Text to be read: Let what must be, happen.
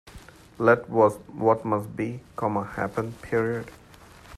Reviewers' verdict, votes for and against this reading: rejected, 0, 2